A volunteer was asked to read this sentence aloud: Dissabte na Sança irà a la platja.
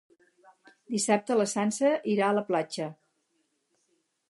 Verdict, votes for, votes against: rejected, 0, 4